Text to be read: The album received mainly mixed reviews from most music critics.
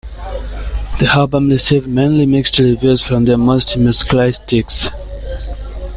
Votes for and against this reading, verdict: 0, 2, rejected